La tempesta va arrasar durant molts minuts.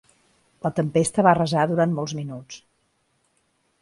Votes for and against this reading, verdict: 2, 0, accepted